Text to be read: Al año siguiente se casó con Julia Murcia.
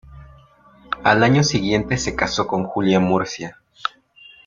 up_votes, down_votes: 2, 0